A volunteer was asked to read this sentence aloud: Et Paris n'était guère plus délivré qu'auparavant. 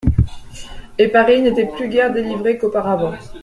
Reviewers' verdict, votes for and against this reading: rejected, 0, 3